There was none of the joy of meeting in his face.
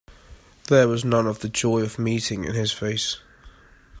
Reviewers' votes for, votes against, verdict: 2, 0, accepted